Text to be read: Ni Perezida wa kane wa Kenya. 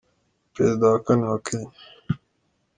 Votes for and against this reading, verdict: 2, 0, accepted